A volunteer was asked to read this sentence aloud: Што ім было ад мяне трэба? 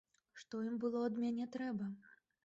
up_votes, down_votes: 1, 3